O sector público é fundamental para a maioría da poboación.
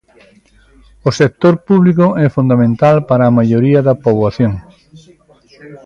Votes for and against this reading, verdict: 2, 0, accepted